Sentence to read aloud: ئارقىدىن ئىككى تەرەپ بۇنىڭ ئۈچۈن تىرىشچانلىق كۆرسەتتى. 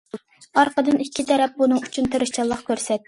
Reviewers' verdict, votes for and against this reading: rejected, 1, 2